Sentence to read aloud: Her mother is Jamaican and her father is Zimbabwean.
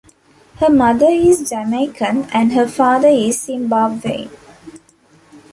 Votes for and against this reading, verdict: 2, 0, accepted